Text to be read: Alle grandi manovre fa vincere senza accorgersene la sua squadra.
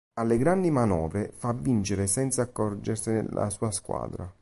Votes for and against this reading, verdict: 2, 0, accepted